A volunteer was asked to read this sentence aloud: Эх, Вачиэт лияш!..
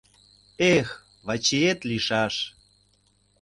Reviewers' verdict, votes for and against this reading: rejected, 0, 2